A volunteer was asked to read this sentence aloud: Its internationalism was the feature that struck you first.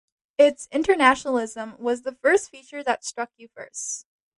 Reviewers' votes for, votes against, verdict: 0, 2, rejected